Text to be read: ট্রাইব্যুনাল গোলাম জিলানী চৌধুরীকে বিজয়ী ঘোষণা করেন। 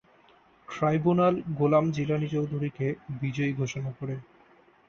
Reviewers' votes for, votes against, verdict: 2, 0, accepted